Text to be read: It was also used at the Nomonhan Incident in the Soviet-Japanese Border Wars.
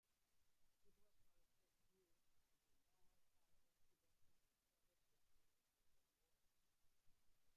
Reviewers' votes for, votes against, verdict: 0, 2, rejected